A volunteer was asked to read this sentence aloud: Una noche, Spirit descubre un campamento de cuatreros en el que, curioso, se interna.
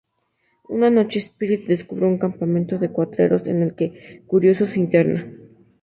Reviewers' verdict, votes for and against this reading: accepted, 2, 0